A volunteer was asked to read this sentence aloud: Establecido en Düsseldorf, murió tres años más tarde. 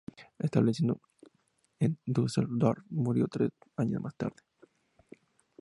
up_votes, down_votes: 2, 0